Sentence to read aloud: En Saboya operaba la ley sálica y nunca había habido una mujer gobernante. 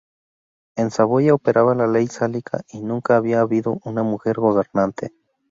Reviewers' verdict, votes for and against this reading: accepted, 4, 0